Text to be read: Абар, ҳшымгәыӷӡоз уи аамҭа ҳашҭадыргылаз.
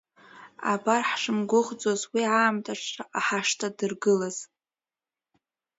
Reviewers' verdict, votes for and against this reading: rejected, 0, 2